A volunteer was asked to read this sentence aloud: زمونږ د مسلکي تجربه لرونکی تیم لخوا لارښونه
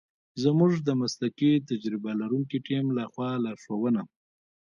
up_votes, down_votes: 2, 0